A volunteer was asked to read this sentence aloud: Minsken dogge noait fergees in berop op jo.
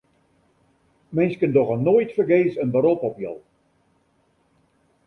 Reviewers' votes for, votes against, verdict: 2, 0, accepted